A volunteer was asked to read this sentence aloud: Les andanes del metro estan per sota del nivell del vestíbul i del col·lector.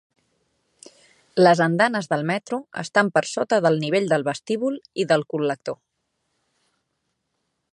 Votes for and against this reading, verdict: 3, 0, accepted